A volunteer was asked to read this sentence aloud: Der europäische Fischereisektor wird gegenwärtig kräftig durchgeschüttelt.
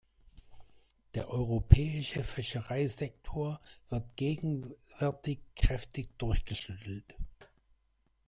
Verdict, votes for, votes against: rejected, 0, 2